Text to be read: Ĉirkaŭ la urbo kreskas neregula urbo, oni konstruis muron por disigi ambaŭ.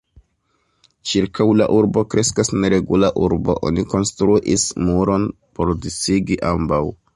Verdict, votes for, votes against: accepted, 2, 0